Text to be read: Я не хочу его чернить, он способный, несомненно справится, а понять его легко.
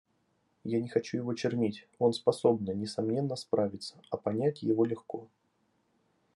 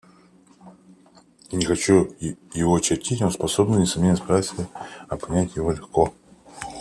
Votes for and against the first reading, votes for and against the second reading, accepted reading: 2, 0, 0, 2, first